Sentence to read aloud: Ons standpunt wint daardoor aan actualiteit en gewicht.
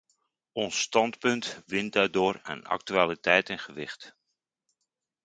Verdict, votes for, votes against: accepted, 2, 0